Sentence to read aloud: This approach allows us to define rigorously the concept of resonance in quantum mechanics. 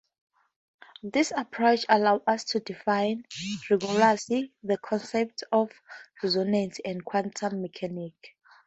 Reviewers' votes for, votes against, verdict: 0, 4, rejected